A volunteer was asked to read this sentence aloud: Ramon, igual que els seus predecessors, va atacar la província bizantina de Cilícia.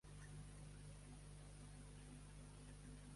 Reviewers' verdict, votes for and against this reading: rejected, 0, 2